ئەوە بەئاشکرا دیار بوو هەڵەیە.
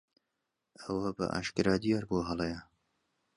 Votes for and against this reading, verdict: 2, 0, accepted